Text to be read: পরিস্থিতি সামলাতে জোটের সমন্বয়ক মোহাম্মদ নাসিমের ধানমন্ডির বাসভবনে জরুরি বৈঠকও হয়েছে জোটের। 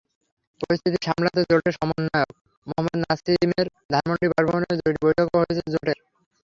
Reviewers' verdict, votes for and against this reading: rejected, 0, 3